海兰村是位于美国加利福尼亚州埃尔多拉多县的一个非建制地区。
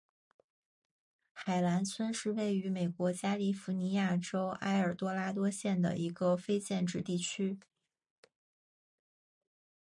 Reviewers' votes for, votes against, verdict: 2, 0, accepted